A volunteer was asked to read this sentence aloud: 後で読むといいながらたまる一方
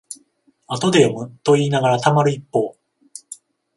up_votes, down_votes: 14, 7